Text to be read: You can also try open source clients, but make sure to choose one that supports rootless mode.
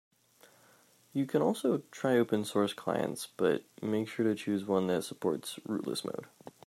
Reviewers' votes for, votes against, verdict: 2, 0, accepted